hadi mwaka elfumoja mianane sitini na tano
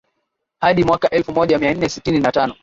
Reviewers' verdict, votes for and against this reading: rejected, 0, 2